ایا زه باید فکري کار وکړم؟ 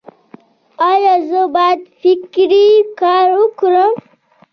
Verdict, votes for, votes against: rejected, 1, 2